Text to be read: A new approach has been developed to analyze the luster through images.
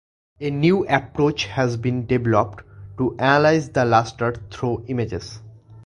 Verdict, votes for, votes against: accepted, 2, 0